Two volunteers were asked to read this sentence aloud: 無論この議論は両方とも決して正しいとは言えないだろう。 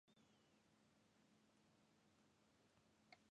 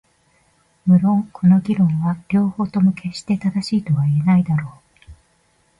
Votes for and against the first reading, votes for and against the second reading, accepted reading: 0, 2, 3, 0, second